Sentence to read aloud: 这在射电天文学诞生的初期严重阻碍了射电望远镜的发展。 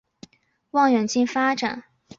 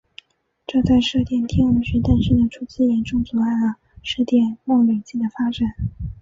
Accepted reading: second